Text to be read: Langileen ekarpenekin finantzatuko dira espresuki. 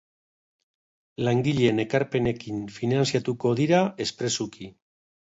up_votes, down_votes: 0, 2